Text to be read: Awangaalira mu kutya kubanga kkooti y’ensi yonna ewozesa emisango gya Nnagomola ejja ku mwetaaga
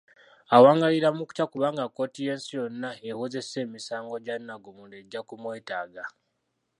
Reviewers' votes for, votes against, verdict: 2, 1, accepted